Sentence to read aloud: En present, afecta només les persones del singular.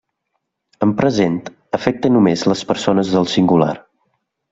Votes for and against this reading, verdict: 2, 0, accepted